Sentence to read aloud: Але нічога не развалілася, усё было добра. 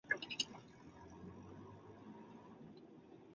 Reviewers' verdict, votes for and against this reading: rejected, 0, 2